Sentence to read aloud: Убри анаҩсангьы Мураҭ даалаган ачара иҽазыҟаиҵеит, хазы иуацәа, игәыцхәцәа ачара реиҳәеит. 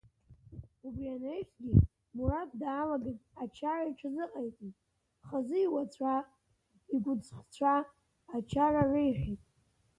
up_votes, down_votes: 1, 3